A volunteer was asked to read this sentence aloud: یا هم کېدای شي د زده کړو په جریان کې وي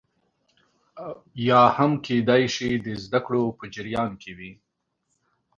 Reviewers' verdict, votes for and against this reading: accepted, 3, 0